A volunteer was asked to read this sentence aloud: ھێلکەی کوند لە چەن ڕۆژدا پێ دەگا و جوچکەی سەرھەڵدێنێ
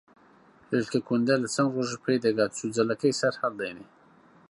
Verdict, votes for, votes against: rejected, 0, 2